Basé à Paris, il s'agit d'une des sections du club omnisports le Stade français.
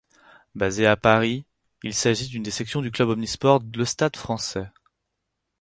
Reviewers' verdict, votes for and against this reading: rejected, 0, 6